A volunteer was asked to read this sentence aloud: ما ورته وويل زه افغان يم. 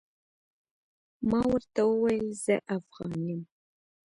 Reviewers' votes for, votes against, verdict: 2, 0, accepted